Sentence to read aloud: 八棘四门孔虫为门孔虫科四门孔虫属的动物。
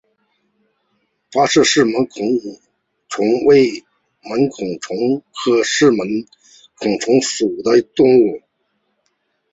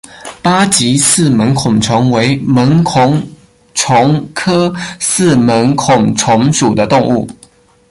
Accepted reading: second